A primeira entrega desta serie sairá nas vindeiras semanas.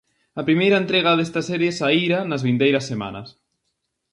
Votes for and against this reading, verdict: 0, 2, rejected